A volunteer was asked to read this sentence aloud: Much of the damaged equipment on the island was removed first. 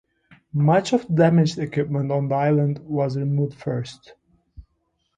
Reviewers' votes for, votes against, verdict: 0, 2, rejected